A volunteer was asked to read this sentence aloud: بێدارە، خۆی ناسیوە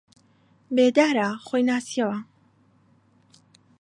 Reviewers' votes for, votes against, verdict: 0, 2, rejected